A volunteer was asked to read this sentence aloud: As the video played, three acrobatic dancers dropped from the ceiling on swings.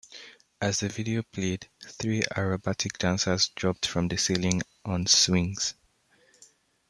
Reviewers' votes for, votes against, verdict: 0, 2, rejected